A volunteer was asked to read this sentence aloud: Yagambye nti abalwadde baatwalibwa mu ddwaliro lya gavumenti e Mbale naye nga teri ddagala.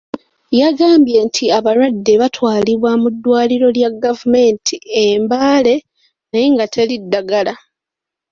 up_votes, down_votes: 0, 2